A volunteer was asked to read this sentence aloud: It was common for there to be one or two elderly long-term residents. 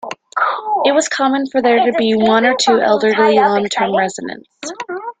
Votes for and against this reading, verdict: 2, 1, accepted